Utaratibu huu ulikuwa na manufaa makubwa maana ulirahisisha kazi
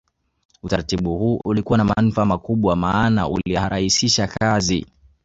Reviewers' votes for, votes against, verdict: 1, 2, rejected